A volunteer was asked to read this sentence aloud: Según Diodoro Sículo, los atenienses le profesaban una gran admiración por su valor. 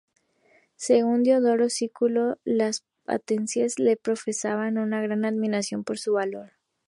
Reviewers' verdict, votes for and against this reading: rejected, 0, 4